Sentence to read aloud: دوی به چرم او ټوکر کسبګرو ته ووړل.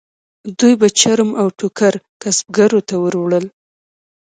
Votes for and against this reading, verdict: 2, 0, accepted